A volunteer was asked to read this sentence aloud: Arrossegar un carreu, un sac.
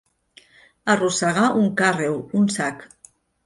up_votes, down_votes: 1, 2